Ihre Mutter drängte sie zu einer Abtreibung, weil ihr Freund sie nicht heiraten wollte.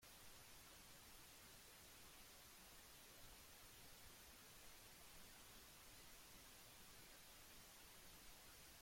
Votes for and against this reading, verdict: 0, 2, rejected